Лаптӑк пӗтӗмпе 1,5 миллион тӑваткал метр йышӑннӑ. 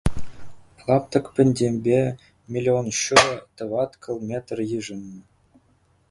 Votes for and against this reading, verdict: 0, 2, rejected